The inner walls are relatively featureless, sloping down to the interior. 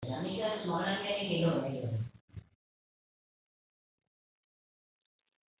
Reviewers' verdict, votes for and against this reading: rejected, 0, 2